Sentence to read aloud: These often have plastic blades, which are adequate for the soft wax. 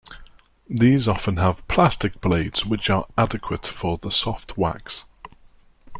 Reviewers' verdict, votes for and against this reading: accepted, 2, 0